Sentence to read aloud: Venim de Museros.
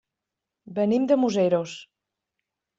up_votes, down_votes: 3, 0